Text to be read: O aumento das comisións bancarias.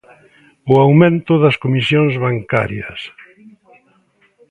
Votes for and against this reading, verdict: 0, 2, rejected